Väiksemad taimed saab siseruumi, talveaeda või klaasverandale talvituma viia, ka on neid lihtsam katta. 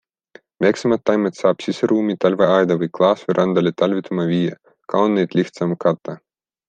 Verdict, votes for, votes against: accepted, 2, 0